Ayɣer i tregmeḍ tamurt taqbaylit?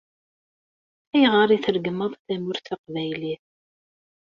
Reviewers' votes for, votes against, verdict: 2, 0, accepted